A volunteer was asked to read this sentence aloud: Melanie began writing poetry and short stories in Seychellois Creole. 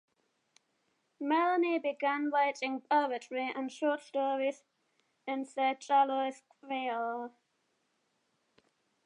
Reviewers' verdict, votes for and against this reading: accepted, 3, 0